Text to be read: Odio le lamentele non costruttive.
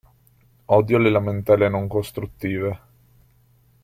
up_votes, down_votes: 2, 0